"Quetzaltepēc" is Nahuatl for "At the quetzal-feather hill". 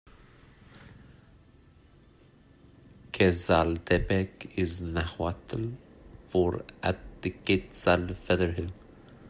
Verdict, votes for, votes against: rejected, 0, 2